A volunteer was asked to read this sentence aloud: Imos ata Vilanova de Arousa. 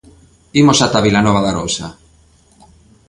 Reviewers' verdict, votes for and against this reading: accepted, 2, 0